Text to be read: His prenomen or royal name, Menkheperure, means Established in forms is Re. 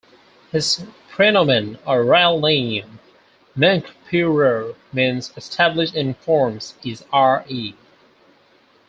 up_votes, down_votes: 4, 0